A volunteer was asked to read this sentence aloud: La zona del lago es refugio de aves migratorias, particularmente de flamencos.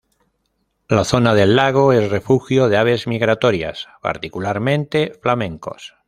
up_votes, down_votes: 0, 2